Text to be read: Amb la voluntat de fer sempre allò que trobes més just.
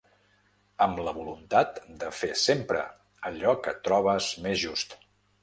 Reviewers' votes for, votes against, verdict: 3, 0, accepted